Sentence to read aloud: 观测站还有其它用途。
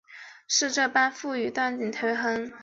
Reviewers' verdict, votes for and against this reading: rejected, 3, 6